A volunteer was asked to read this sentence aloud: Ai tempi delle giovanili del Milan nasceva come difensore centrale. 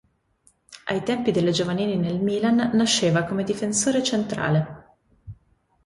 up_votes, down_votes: 1, 2